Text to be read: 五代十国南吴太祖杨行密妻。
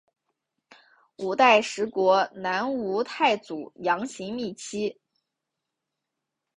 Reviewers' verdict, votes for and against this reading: accepted, 2, 0